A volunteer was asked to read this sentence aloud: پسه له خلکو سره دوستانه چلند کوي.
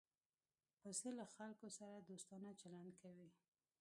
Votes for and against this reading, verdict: 2, 1, accepted